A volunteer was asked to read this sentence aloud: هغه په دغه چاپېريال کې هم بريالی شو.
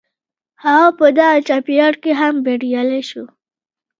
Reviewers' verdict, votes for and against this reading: rejected, 1, 2